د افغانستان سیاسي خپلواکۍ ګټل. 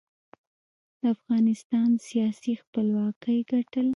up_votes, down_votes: 0, 2